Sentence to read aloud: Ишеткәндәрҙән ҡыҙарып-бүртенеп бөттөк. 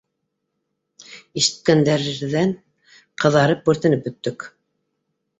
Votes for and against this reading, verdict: 0, 2, rejected